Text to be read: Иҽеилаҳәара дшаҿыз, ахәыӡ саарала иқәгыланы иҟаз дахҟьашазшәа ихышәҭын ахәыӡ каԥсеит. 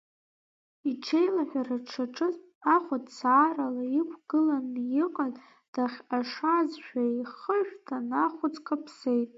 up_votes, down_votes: 2, 1